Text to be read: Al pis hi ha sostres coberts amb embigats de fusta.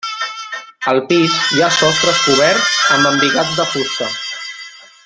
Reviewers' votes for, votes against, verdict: 1, 2, rejected